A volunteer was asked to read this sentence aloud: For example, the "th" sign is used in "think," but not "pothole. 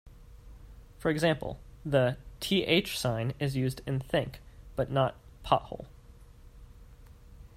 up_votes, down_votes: 2, 0